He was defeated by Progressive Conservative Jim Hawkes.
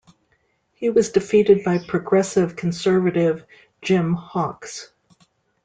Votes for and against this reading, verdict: 2, 0, accepted